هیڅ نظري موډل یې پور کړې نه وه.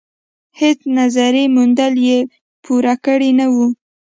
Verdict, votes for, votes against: rejected, 1, 2